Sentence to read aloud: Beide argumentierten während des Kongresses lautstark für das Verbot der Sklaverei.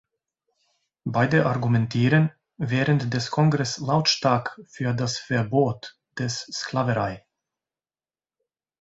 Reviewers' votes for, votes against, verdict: 0, 2, rejected